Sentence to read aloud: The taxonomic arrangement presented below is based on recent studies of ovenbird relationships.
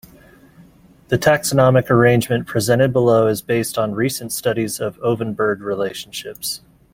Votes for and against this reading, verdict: 2, 1, accepted